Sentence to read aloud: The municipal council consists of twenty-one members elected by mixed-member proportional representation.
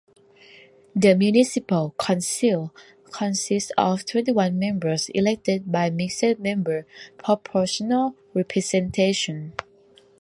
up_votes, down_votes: 1, 2